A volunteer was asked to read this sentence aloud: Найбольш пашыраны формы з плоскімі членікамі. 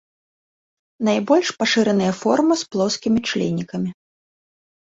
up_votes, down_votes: 1, 2